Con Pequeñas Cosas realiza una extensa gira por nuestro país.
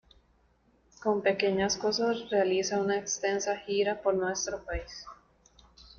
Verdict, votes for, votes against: rejected, 0, 2